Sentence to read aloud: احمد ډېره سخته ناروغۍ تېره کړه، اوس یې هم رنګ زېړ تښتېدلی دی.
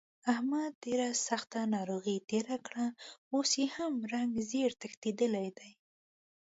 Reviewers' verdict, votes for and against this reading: accepted, 2, 0